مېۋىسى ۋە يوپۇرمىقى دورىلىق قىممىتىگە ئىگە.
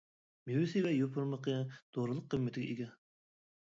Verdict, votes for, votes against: accepted, 2, 0